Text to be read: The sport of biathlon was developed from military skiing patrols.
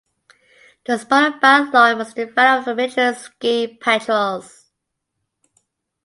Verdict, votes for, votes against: rejected, 0, 2